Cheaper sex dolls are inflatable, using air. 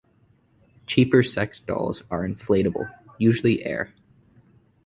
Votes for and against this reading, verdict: 2, 0, accepted